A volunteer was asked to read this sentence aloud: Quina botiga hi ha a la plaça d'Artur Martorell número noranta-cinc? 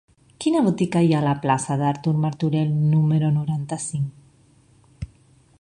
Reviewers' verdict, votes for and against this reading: accepted, 2, 0